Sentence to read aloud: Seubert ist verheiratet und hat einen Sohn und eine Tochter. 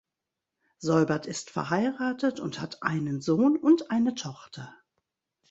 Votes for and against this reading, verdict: 2, 0, accepted